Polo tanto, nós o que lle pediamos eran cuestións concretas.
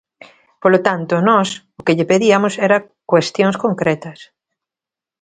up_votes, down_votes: 0, 2